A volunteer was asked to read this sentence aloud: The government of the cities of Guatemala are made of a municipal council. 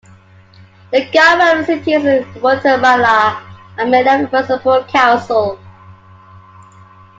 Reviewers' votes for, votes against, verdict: 0, 2, rejected